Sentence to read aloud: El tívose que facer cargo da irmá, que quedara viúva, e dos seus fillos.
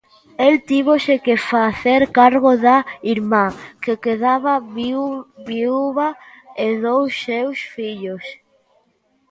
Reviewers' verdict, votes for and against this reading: rejected, 0, 2